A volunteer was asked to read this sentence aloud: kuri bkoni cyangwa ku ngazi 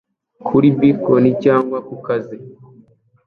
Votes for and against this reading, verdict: 1, 2, rejected